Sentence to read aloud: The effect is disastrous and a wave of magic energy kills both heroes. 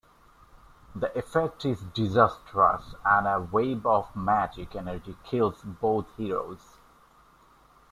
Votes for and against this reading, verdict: 2, 0, accepted